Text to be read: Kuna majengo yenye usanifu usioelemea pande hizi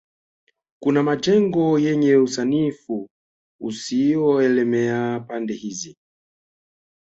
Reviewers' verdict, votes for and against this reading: accepted, 2, 0